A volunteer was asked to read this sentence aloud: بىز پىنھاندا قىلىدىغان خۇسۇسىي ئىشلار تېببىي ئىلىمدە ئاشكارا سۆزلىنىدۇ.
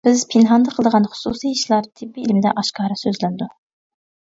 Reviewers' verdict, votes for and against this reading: accepted, 2, 0